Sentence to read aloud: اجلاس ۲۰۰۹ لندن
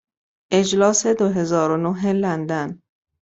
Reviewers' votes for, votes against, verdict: 0, 2, rejected